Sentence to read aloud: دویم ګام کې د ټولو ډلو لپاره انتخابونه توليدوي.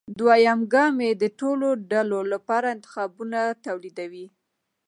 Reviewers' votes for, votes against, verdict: 2, 0, accepted